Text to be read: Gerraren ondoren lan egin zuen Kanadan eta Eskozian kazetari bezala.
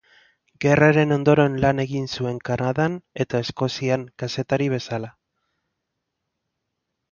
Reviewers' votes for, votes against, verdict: 1, 2, rejected